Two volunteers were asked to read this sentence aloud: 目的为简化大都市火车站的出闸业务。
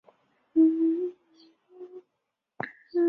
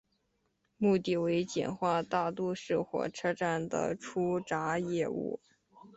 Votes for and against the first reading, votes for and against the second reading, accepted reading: 0, 4, 4, 0, second